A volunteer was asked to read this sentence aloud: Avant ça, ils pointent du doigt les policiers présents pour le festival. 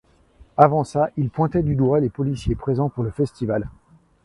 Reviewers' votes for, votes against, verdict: 1, 2, rejected